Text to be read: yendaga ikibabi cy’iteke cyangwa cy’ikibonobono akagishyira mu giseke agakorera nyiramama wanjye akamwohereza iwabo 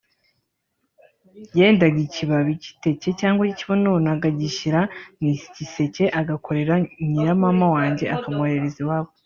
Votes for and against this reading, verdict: 0, 2, rejected